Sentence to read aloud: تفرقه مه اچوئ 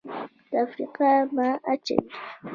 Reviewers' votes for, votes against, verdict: 2, 1, accepted